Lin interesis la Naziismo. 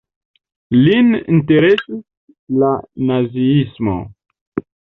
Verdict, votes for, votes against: accepted, 2, 1